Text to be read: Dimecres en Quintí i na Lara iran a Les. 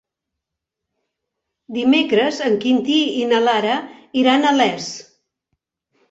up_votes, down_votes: 4, 0